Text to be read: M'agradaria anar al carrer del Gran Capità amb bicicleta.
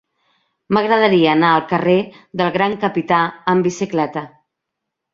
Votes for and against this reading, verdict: 3, 0, accepted